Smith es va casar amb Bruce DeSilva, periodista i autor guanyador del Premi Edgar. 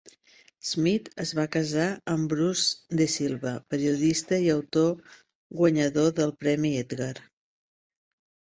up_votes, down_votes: 2, 0